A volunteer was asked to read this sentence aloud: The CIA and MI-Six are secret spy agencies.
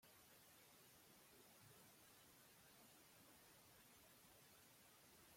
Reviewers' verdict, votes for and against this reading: rejected, 0, 2